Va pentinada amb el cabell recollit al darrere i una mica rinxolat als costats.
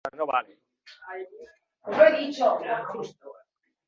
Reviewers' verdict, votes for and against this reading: rejected, 0, 3